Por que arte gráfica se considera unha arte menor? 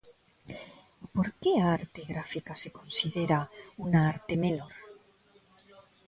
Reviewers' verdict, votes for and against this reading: rejected, 0, 2